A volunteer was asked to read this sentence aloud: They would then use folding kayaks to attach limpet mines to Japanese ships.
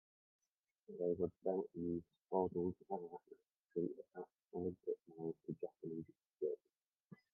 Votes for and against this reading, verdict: 0, 2, rejected